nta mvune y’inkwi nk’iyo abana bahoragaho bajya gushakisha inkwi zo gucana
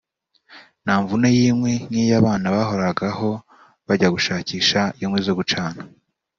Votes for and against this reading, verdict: 2, 0, accepted